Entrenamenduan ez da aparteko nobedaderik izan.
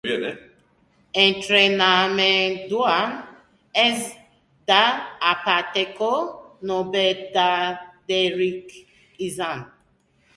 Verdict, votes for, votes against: rejected, 0, 2